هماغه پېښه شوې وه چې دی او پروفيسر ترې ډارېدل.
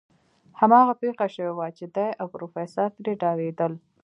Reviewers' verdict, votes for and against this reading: accepted, 2, 0